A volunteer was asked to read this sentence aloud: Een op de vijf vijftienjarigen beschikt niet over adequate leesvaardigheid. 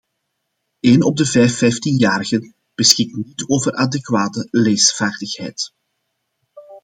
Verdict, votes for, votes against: accepted, 2, 0